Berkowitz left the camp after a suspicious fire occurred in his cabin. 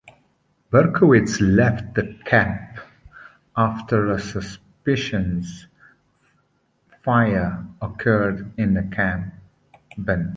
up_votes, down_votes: 0, 3